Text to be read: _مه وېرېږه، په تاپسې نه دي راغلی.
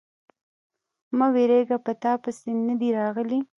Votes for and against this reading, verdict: 2, 0, accepted